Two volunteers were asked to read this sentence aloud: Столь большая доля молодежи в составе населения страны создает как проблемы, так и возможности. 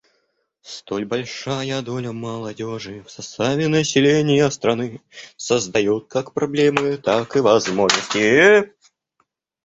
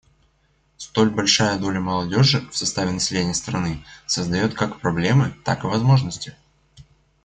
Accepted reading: second